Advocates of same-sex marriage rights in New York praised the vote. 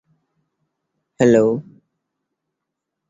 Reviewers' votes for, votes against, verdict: 0, 2, rejected